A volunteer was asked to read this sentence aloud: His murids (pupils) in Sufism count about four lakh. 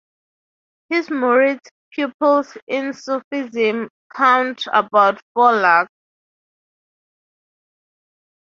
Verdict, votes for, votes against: accepted, 2, 0